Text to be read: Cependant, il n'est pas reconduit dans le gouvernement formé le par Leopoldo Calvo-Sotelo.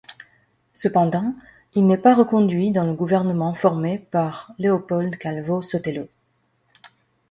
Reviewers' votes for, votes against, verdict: 1, 2, rejected